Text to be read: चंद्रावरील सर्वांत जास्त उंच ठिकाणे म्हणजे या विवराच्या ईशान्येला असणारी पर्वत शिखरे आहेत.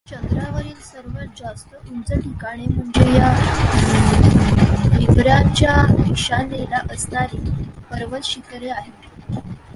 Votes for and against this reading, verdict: 0, 2, rejected